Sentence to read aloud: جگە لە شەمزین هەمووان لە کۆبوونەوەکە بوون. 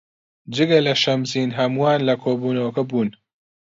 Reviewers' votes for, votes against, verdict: 2, 0, accepted